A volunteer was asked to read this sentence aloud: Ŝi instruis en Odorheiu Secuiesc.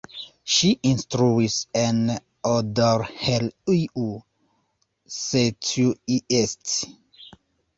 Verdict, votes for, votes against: rejected, 0, 2